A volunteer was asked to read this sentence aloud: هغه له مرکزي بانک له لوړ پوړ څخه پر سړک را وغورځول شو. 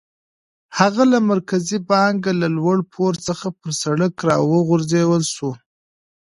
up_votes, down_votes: 0, 2